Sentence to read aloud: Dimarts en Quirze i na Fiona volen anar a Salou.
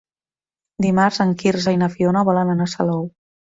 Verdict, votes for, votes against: accepted, 3, 0